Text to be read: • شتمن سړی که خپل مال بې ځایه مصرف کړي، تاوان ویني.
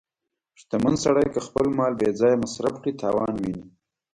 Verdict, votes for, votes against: accepted, 2, 1